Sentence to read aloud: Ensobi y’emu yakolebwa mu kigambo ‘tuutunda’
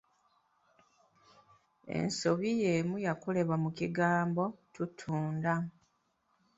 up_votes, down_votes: 2, 0